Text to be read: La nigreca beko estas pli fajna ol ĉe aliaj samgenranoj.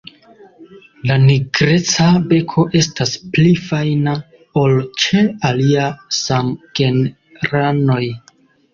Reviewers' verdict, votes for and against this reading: rejected, 1, 2